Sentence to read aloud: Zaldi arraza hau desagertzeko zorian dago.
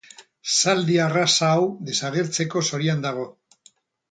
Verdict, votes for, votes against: rejected, 2, 2